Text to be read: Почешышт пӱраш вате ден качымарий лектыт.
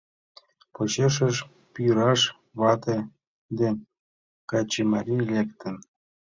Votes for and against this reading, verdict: 0, 2, rejected